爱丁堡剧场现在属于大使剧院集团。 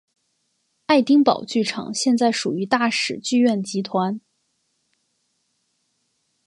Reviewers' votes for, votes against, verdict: 2, 0, accepted